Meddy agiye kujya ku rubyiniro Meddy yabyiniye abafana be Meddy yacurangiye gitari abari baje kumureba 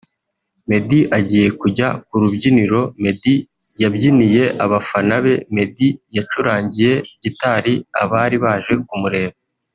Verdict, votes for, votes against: rejected, 1, 2